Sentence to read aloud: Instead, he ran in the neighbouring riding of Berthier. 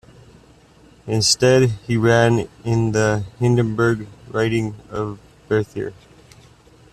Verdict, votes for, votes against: rejected, 0, 2